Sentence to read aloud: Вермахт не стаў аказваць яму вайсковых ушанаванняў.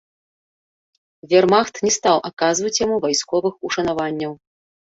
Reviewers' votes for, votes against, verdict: 1, 2, rejected